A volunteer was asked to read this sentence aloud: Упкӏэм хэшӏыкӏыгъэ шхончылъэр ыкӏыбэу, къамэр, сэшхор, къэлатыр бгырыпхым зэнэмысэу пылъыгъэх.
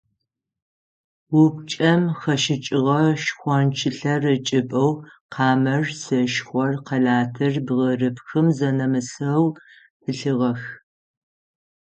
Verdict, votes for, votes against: rejected, 3, 6